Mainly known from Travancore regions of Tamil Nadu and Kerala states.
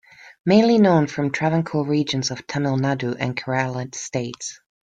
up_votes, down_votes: 2, 0